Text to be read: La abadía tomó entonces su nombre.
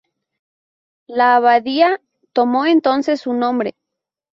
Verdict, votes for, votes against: accepted, 2, 0